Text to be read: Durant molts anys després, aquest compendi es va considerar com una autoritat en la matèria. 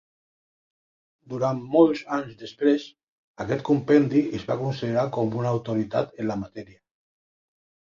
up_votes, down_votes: 5, 0